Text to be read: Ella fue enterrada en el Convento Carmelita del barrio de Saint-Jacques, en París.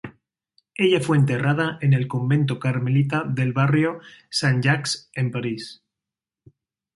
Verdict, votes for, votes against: rejected, 0, 2